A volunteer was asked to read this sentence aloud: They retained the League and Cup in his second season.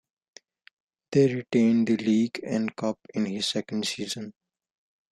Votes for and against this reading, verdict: 2, 0, accepted